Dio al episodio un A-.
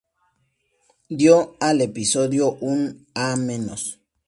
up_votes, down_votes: 2, 0